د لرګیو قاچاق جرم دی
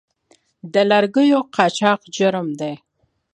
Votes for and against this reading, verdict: 2, 0, accepted